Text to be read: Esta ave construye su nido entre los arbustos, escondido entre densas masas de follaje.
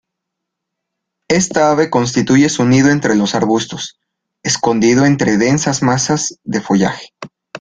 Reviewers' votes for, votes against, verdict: 0, 2, rejected